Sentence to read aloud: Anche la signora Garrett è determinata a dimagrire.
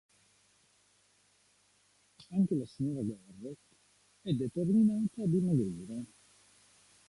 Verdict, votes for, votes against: rejected, 1, 2